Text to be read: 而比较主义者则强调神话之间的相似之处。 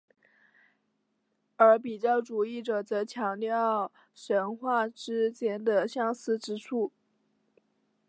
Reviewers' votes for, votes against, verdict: 3, 0, accepted